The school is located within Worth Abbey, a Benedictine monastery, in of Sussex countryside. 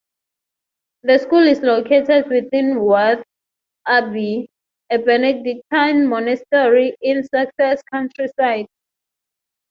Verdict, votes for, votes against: rejected, 0, 6